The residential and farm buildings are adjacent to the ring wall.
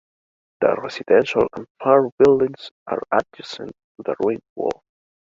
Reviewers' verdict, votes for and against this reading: rejected, 1, 2